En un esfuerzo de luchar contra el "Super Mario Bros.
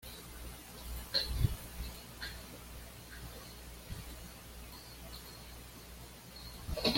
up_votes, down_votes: 1, 2